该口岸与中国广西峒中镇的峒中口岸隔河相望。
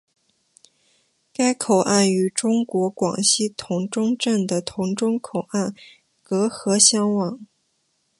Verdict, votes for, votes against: accepted, 2, 0